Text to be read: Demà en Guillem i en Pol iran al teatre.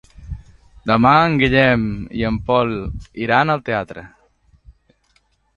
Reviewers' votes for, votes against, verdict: 2, 0, accepted